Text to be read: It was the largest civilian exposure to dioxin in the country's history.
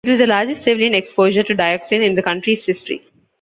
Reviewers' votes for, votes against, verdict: 2, 1, accepted